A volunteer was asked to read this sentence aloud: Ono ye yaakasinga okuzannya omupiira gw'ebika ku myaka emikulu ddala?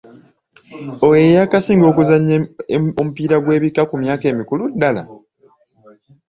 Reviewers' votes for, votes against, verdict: 1, 2, rejected